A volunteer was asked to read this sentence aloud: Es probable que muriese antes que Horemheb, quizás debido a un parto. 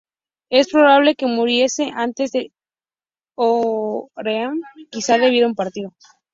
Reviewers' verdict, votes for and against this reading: rejected, 0, 4